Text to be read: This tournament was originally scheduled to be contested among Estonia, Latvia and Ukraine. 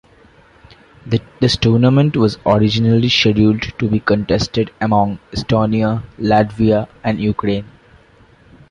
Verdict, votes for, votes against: accepted, 2, 0